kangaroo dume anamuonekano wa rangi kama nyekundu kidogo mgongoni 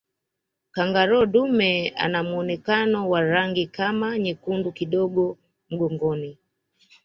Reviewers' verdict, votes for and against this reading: accepted, 2, 1